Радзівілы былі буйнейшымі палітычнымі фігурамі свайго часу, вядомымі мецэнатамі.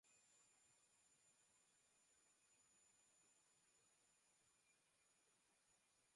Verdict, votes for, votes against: rejected, 0, 2